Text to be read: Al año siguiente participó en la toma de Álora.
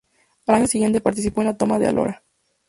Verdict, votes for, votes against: accepted, 2, 0